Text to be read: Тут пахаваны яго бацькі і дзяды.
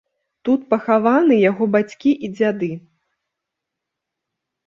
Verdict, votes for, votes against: accepted, 2, 0